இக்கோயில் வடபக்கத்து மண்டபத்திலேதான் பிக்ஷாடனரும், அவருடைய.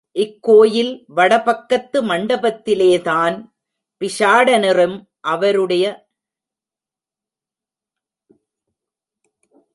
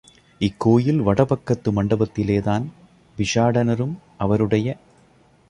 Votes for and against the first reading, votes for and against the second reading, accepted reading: 1, 2, 2, 0, second